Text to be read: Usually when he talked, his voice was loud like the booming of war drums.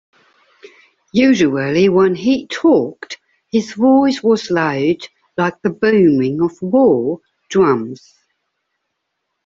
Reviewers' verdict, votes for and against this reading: accepted, 2, 0